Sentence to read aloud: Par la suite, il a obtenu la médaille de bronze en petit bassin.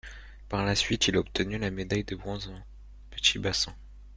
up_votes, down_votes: 1, 2